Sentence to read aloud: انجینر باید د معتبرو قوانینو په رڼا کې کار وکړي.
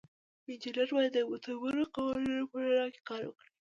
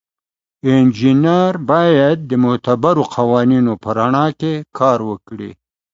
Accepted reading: second